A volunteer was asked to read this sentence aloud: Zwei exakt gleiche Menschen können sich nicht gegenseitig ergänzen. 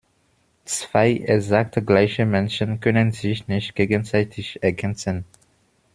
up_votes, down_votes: 1, 2